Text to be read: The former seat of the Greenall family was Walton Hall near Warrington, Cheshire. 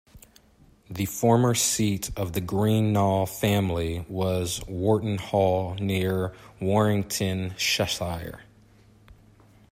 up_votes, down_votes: 1, 2